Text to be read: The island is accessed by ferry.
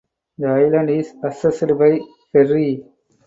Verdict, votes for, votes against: accepted, 2, 0